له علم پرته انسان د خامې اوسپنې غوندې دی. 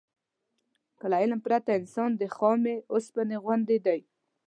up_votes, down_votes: 0, 2